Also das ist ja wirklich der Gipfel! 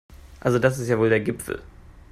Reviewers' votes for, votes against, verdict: 0, 2, rejected